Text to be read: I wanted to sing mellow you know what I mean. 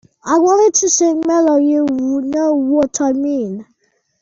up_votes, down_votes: 1, 2